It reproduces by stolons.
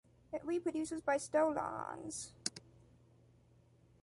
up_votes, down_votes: 1, 2